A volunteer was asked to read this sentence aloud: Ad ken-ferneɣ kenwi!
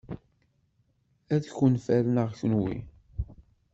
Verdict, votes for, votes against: rejected, 1, 2